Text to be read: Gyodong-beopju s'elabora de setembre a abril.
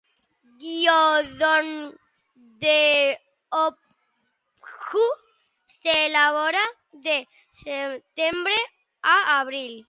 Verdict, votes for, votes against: rejected, 3, 4